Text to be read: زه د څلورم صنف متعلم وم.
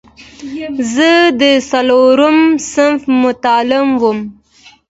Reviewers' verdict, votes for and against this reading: rejected, 1, 2